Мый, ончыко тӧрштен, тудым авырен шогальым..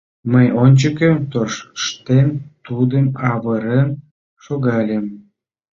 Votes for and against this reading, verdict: 0, 2, rejected